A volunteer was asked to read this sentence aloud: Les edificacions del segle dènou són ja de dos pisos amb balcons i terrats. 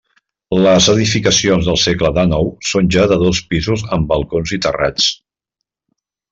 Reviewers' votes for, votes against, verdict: 2, 0, accepted